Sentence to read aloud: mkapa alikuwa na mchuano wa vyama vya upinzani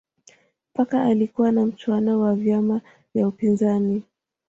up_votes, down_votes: 1, 2